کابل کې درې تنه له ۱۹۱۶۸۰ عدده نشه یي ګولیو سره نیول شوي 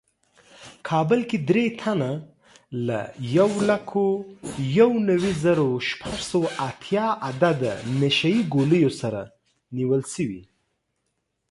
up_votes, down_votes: 0, 2